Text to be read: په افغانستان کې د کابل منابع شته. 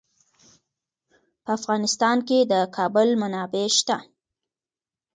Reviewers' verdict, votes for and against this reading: accepted, 2, 0